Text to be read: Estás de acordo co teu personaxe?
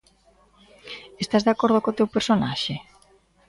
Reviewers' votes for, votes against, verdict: 2, 0, accepted